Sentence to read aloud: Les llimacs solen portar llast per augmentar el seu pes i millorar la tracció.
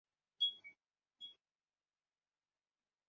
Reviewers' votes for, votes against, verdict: 0, 2, rejected